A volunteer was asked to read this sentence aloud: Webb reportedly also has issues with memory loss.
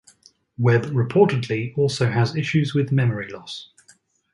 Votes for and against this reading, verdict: 2, 2, rejected